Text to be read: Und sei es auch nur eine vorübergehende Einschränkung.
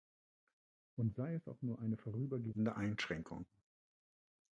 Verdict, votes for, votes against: rejected, 0, 2